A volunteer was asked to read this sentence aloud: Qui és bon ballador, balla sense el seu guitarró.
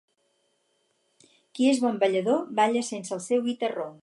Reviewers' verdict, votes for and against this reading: accepted, 4, 0